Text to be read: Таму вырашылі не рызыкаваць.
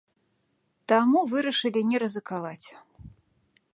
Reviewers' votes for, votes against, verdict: 2, 0, accepted